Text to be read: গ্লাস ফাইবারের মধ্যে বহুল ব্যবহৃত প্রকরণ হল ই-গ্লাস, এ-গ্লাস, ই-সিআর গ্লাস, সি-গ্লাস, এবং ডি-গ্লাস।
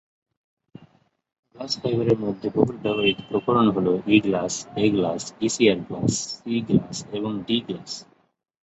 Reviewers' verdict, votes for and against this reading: rejected, 4, 6